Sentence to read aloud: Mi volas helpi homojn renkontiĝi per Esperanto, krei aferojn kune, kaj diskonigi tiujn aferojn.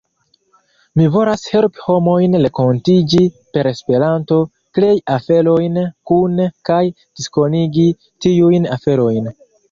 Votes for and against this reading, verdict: 3, 0, accepted